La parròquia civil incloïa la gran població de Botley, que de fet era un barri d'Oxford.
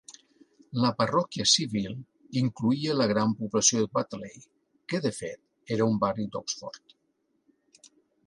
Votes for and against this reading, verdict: 3, 0, accepted